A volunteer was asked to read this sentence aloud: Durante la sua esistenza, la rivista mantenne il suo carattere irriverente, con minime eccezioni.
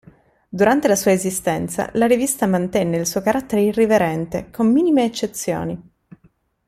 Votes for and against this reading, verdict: 2, 1, accepted